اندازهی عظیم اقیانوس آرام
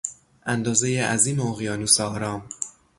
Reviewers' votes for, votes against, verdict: 3, 0, accepted